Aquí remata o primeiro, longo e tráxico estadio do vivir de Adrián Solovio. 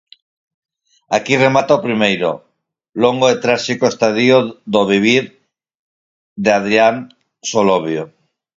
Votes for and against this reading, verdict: 2, 4, rejected